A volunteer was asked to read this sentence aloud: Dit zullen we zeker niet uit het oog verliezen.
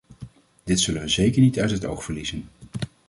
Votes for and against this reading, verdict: 2, 0, accepted